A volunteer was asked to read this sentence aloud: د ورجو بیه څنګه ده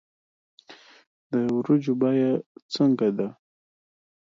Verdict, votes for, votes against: accepted, 2, 0